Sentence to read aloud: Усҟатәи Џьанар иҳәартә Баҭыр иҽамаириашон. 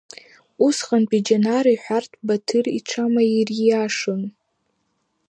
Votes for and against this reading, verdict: 3, 0, accepted